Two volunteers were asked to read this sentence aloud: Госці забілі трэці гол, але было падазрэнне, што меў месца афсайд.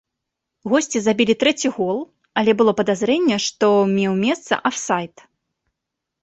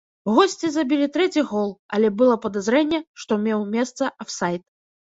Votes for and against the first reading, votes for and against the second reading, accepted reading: 2, 0, 1, 2, first